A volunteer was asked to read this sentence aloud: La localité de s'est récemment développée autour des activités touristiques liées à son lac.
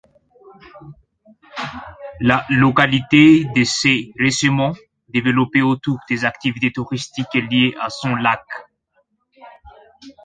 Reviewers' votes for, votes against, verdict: 1, 2, rejected